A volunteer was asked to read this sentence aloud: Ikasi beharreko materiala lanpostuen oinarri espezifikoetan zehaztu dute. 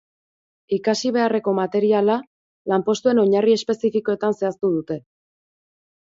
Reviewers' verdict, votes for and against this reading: accepted, 2, 0